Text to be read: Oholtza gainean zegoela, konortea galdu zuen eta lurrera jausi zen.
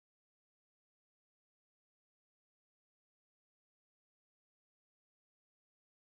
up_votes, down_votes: 0, 2